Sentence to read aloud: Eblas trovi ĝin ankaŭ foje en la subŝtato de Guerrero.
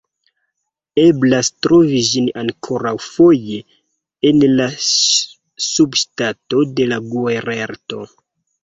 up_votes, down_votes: 1, 2